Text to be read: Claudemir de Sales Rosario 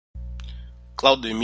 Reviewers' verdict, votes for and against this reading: rejected, 0, 2